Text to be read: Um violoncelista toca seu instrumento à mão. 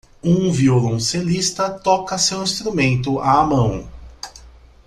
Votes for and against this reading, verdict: 2, 0, accepted